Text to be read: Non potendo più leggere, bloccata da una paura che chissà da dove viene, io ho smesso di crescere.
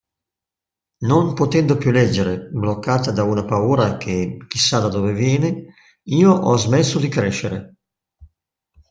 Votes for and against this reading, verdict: 2, 0, accepted